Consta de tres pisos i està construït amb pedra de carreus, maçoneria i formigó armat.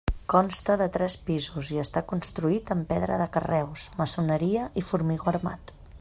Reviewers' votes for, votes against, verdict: 2, 1, accepted